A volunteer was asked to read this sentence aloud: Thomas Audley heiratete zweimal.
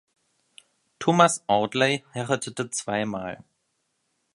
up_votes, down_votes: 1, 2